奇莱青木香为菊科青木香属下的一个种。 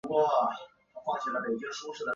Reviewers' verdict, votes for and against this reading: accepted, 5, 2